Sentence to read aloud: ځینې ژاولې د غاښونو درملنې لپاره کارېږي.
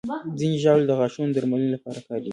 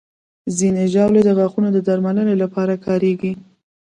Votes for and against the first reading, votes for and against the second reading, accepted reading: 2, 1, 1, 2, first